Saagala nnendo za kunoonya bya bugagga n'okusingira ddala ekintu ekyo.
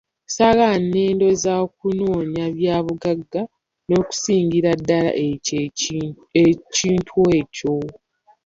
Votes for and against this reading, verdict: 0, 2, rejected